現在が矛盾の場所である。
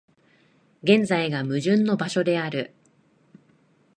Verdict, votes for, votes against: accepted, 2, 0